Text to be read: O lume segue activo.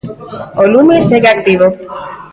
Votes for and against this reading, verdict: 2, 0, accepted